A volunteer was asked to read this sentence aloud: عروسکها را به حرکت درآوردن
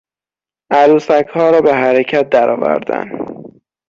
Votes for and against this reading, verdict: 0, 6, rejected